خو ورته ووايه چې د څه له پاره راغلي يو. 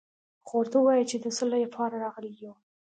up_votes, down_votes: 2, 0